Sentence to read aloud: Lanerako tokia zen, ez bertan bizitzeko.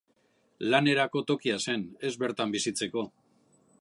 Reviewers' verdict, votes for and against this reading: accepted, 2, 0